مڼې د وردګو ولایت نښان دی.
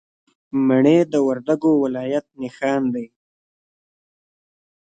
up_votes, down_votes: 2, 1